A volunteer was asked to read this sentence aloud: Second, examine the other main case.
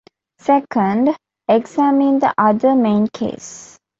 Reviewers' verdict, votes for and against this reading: accepted, 2, 1